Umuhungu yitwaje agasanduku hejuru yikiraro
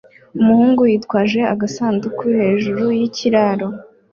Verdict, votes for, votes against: accepted, 2, 0